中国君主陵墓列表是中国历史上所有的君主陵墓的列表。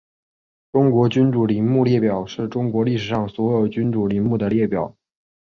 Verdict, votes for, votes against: accepted, 2, 0